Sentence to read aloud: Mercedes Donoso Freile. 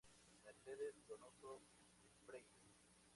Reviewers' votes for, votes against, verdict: 0, 2, rejected